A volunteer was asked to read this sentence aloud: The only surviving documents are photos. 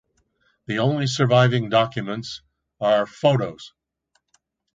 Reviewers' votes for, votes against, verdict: 2, 0, accepted